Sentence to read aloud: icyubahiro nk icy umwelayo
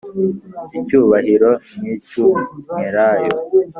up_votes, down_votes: 2, 0